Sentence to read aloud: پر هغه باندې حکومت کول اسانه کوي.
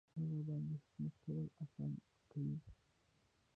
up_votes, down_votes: 0, 2